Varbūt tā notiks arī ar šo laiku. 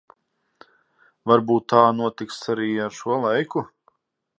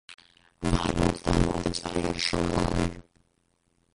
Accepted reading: first